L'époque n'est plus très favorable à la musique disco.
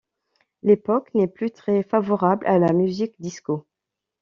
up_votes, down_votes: 2, 0